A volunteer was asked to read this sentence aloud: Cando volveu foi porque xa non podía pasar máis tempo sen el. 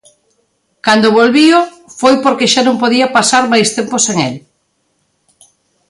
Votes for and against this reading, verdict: 0, 2, rejected